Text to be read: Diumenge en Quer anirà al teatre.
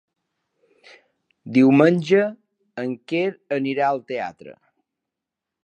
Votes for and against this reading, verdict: 3, 0, accepted